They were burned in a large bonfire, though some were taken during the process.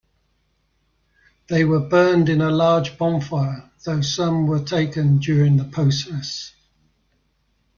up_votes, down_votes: 2, 0